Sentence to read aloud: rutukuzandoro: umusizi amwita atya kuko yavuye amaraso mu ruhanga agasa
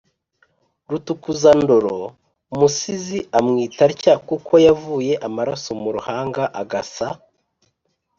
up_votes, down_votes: 3, 0